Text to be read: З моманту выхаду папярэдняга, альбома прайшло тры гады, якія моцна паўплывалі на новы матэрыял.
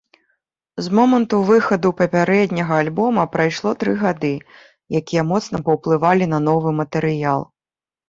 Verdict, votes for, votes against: accepted, 2, 0